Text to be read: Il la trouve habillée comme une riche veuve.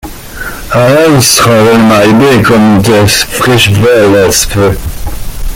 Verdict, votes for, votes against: rejected, 0, 2